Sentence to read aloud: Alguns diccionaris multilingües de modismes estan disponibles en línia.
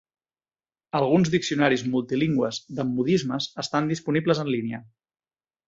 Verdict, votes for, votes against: accepted, 4, 0